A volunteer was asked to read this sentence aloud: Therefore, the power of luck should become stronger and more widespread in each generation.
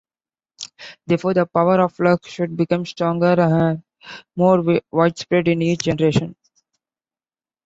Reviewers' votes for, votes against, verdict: 0, 2, rejected